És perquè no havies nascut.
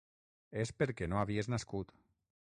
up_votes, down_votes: 6, 0